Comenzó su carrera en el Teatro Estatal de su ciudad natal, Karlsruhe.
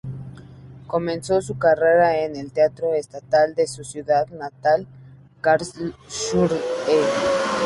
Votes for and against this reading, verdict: 0, 2, rejected